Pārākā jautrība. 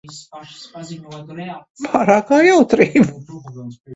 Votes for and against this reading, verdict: 0, 2, rejected